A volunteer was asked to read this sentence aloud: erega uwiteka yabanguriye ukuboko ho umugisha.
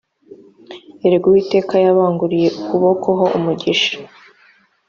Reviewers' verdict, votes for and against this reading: accepted, 2, 0